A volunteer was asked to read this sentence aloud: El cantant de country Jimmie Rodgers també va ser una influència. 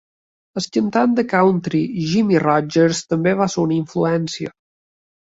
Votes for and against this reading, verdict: 2, 1, accepted